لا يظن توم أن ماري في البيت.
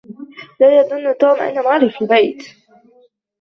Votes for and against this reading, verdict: 1, 2, rejected